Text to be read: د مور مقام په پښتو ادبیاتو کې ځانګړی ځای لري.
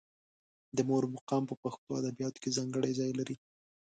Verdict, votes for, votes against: accepted, 4, 0